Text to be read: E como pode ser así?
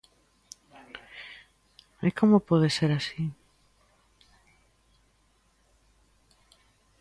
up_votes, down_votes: 2, 0